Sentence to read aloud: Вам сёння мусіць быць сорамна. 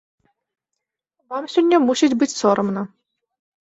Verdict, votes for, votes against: accepted, 2, 0